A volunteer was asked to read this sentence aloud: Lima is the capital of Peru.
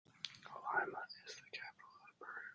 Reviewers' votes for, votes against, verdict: 0, 2, rejected